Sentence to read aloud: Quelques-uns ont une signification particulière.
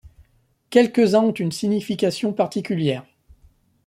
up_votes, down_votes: 1, 2